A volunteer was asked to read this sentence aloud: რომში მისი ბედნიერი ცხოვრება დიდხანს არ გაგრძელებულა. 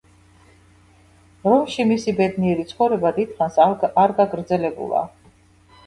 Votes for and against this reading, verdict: 0, 2, rejected